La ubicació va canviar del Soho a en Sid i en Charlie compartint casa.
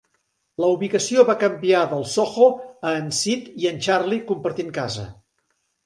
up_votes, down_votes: 4, 0